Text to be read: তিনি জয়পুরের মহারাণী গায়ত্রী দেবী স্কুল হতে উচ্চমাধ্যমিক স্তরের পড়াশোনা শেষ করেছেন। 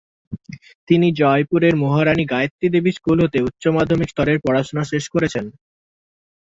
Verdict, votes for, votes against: accepted, 5, 0